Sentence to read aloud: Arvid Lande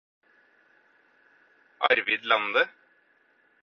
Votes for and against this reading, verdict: 4, 0, accepted